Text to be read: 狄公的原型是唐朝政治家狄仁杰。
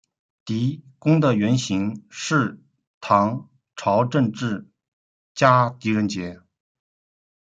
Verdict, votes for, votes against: accepted, 2, 0